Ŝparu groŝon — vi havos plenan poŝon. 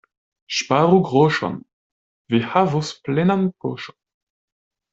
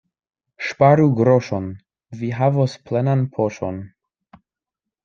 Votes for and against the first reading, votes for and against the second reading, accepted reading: 1, 2, 2, 0, second